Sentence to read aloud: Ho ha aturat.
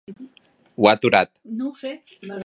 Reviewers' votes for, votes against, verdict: 1, 2, rejected